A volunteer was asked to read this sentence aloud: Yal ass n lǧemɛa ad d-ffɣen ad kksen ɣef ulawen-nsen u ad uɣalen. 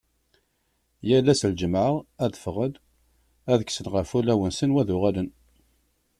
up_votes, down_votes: 2, 0